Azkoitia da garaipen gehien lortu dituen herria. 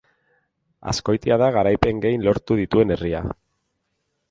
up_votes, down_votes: 0, 2